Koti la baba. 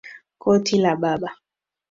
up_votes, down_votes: 2, 0